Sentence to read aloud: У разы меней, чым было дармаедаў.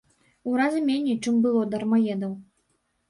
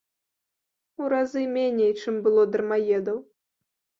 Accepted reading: second